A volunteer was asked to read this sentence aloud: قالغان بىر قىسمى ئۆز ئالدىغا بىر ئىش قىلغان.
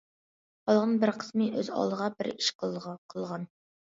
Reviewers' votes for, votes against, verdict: 0, 2, rejected